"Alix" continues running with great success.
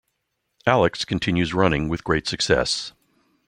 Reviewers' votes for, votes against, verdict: 2, 0, accepted